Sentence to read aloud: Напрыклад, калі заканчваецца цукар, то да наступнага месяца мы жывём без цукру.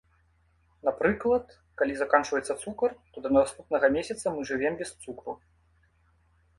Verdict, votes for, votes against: rejected, 0, 2